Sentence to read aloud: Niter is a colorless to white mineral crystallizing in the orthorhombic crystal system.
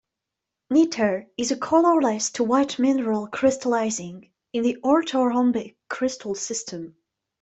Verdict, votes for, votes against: rejected, 0, 2